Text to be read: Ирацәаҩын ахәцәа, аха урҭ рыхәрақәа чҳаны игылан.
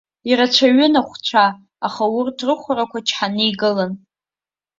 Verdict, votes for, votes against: rejected, 1, 3